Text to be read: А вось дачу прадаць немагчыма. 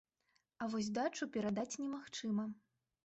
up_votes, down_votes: 1, 2